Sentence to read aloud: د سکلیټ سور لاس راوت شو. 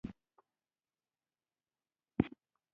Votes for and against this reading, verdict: 1, 2, rejected